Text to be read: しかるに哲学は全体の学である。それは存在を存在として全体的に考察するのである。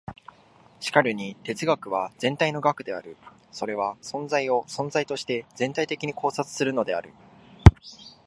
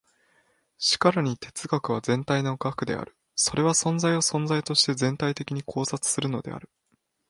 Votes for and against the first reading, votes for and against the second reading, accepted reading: 3, 0, 0, 2, first